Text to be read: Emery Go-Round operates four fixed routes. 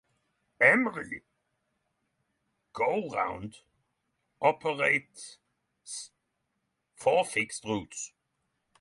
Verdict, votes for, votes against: rejected, 3, 3